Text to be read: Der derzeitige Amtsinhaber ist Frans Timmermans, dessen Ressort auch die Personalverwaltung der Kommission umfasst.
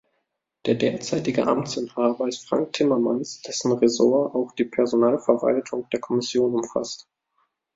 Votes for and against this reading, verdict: 1, 2, rejected